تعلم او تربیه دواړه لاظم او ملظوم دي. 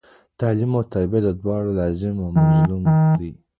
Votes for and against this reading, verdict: 2, 1, accepted